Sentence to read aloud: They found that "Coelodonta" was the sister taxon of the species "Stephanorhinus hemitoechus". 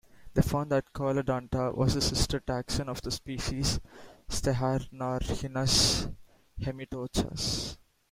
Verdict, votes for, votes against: rejected, 0, 2